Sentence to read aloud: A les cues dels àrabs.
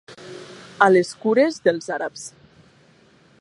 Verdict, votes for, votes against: rejected, 0, 2